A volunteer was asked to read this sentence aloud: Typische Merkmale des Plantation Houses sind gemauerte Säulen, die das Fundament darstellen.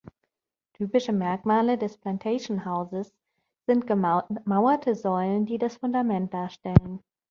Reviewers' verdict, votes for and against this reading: rejected, 0, 2